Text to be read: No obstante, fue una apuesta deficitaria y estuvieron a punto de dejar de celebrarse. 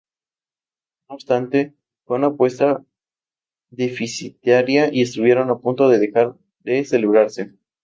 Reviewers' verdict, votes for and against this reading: rejected, 0, 2